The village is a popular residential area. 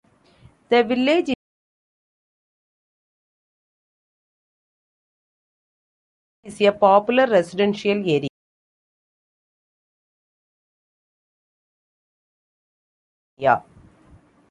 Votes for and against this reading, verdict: 0, 2, rejected